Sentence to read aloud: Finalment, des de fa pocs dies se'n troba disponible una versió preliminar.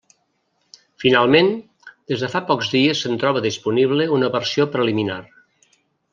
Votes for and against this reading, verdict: 3, 0, accepted